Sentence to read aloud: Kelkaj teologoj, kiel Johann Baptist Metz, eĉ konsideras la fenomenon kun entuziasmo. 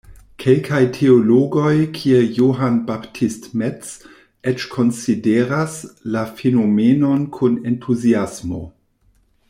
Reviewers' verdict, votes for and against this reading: rejected, 0, 2